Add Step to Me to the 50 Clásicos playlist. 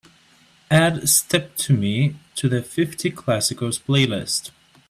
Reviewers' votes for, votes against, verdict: 0, 2, rejected